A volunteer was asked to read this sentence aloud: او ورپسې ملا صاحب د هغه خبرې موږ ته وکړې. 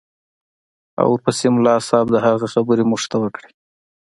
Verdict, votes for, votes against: accepted, 2, 0